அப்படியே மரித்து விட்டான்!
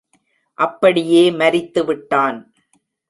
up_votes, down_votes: 2, 0